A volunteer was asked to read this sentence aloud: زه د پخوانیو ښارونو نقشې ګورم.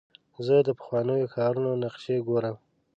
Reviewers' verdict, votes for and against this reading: accepted, 2, 0